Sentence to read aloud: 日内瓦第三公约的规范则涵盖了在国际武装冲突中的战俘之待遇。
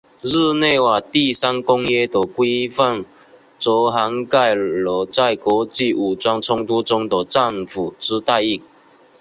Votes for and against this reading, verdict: 6, 2, accepted